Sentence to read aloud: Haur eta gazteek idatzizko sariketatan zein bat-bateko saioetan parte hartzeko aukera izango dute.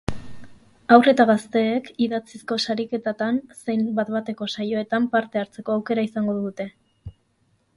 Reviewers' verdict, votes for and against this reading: accepted, 8, 0